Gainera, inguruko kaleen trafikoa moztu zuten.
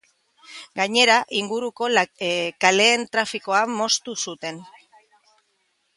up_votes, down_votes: 0, 2